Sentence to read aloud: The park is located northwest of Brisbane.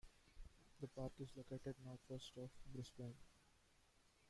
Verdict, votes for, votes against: rejected, 1, 2